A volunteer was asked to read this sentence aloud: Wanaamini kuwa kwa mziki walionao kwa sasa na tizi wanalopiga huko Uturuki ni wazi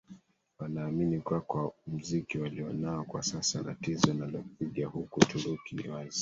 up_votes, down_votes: 2, 1